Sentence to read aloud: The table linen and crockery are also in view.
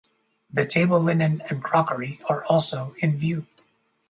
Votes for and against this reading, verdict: 2, 0, accepted